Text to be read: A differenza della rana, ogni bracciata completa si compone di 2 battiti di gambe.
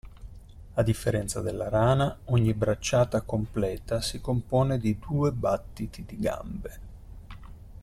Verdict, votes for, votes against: rejected, 0, 2